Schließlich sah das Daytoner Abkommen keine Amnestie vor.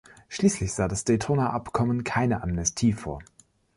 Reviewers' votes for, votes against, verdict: 2, 0, accepted